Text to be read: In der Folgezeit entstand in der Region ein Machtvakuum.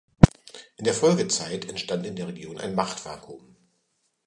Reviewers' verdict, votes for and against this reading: accepted, 2, 0